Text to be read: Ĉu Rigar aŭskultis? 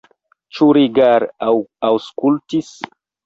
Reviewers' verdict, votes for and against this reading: rejected, 1, 2